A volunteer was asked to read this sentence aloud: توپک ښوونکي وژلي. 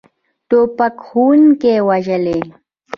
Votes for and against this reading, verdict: 0, 2, rejected